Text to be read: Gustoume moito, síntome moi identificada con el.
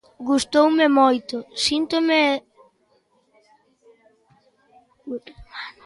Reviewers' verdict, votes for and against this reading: rejected, 0, 2